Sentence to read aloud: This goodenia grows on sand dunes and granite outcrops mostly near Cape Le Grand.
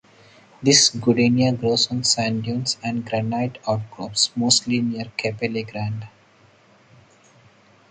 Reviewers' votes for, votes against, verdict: 4, 2, accepted